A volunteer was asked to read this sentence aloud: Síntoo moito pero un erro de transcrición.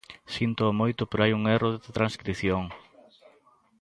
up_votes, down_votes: 0, 2